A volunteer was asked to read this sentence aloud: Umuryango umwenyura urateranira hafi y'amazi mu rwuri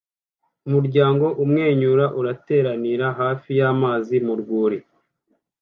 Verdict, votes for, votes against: accepted, 2, 0